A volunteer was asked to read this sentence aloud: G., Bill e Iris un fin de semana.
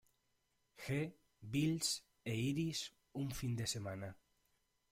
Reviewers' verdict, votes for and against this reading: rejected, 0, 2